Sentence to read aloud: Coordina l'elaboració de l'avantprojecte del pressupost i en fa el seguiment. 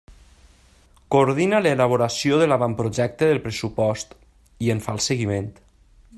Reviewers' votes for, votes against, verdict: 3, 0, accepted